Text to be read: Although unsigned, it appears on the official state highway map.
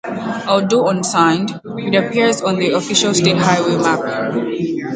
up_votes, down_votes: 0, 2